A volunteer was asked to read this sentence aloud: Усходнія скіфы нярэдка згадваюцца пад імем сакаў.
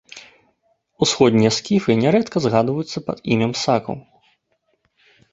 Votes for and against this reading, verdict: 2, 0, accepted